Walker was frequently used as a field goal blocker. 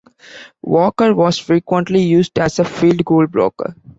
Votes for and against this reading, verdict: 2, 0, accepted